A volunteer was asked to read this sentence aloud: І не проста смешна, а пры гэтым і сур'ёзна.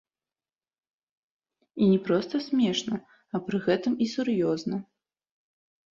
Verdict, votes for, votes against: accepted, 2, 0